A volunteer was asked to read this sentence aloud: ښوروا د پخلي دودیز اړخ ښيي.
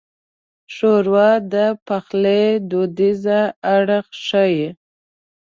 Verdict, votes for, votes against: rejected, 0, 2